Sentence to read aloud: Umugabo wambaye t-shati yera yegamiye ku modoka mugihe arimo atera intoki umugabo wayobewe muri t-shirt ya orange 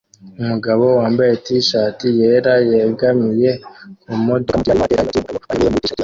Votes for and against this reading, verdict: 1, 2, rejected